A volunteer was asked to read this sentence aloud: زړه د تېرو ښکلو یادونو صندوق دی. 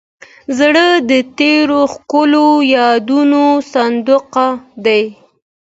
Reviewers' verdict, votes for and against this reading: accepted, 2, 0